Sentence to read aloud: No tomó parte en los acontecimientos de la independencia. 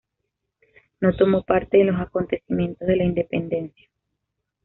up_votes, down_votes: 2, 0